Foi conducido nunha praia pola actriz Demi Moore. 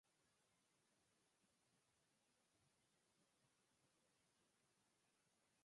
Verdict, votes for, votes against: rejected, 0, 6